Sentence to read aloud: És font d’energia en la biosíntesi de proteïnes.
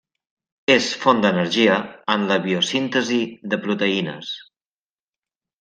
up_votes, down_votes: 2, 0